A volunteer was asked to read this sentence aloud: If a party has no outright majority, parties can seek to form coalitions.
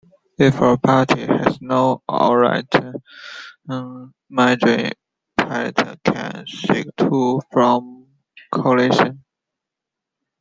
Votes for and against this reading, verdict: 0, 2, rejected